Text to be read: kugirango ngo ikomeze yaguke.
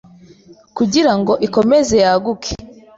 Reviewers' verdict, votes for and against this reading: rejected, 1, 2